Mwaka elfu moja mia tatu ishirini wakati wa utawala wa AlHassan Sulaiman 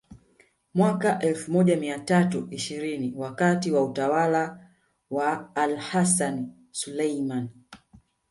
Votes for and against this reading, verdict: 1, 2, rejected